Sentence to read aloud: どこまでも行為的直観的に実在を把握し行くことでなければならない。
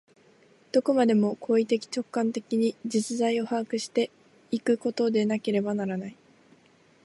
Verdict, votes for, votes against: rejected, 1, 2